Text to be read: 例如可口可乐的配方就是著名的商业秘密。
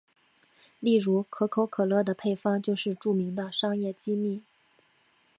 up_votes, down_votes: 2, 1